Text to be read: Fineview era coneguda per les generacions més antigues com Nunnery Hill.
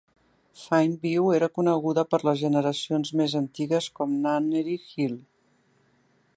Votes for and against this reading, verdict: 3, 0, accepted